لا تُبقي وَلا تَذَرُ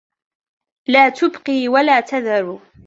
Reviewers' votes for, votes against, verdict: 2, 0, accepted